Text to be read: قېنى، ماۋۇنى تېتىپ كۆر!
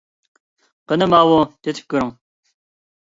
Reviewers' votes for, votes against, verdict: 1, 2, rejected